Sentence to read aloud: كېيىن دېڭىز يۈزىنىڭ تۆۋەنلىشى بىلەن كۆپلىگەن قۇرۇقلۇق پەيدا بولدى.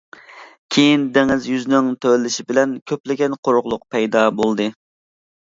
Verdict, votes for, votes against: accepted, 2, 0